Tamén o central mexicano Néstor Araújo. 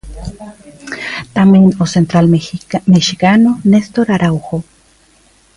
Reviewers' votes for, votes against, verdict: 1, 2, rejected